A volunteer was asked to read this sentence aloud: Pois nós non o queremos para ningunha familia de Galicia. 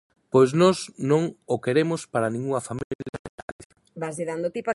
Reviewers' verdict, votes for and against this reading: rejected, 0, 3